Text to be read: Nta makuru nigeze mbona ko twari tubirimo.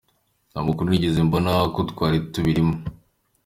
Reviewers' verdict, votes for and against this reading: accepted, 2, 0